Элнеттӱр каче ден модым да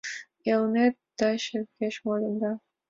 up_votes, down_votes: 1, 2